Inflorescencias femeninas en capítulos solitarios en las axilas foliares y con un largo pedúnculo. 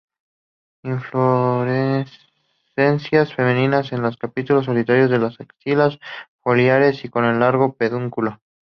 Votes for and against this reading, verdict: 2, 2, rejected